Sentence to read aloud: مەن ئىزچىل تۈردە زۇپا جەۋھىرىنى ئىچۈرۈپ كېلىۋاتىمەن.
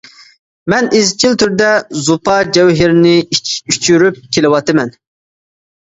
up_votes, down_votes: 0, 2